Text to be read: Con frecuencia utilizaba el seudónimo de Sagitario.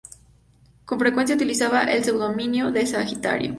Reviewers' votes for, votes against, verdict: 2, 2, rejected